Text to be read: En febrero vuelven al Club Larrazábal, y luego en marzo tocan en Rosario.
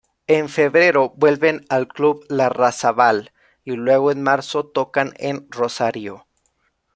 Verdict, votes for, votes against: rejected, 1, 2